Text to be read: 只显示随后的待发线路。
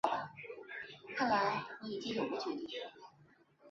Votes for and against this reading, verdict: 0, 3, rejected